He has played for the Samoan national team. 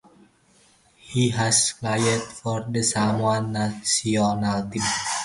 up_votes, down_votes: 0, 2